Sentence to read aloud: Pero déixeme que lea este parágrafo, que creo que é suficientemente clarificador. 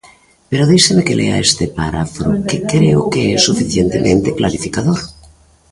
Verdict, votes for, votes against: rejected, 0, 2